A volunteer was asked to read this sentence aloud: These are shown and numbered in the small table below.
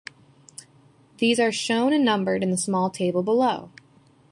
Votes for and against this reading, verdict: 2, 0, accepted